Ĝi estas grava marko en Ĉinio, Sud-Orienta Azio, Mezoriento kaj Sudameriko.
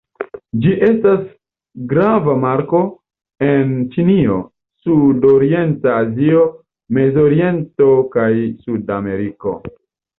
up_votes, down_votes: 1, 2